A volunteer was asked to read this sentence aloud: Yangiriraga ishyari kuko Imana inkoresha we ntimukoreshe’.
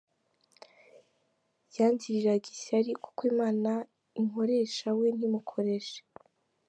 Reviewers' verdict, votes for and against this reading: accepted, 3, 2